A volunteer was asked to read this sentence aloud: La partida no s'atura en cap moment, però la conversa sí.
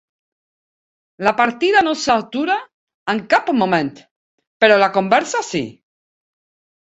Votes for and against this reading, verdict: 2, 0, accepted